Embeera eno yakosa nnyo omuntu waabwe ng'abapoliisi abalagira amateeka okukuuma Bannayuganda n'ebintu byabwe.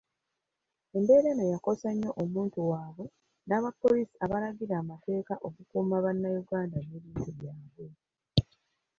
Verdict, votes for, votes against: rejected, 1, 2